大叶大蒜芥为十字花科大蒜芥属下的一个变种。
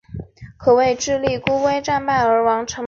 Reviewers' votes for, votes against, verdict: 0, 3, rejected